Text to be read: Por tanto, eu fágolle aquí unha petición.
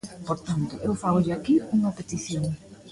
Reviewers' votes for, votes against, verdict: 2, 0, accepted